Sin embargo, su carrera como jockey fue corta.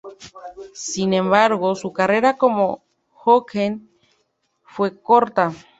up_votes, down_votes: 0, 2